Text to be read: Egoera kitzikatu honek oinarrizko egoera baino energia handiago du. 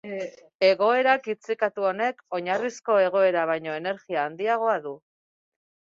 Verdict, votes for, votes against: rejected, 2, 6